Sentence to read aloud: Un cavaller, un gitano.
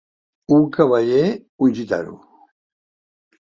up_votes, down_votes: 2, 0